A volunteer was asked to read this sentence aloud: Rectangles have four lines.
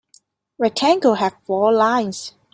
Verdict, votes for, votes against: rejected, 0, 2